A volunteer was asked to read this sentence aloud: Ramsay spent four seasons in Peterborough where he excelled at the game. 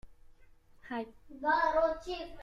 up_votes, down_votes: 0, 2